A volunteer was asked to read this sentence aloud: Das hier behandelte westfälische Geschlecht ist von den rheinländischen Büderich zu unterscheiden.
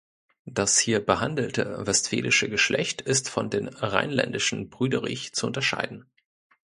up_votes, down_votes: 1, 2